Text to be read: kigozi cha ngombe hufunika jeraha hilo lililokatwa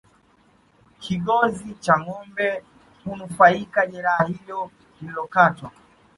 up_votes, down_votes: 1, 3